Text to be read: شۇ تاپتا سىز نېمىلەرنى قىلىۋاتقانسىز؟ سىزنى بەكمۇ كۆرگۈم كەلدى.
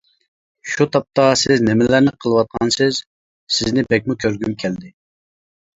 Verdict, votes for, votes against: accepted, 2, 0